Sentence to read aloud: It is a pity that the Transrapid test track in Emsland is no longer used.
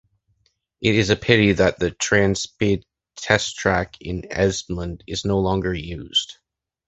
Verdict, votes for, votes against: rejected, 0, 2